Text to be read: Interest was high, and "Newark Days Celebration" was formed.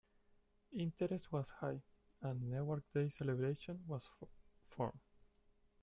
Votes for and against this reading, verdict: 1, 2, rejected